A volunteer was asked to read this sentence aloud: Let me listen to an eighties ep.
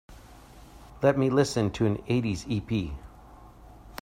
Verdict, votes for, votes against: accepted, 2, 0